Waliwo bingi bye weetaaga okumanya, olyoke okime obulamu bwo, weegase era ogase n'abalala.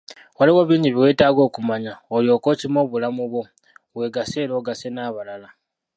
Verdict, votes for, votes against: rejected, 1, 2